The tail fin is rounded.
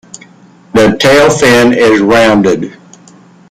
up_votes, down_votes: 2, 1